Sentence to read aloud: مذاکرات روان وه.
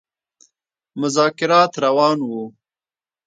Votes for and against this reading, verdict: 2, 0, accepted